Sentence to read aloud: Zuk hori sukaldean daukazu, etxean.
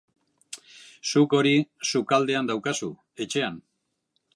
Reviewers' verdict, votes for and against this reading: accepted, 2, 0